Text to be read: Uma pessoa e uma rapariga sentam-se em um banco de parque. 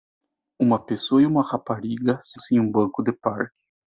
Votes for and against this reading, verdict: 0, 2, rejected